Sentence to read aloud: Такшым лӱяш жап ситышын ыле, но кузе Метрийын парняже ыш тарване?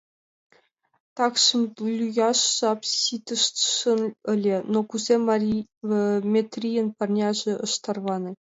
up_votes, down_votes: 0, 2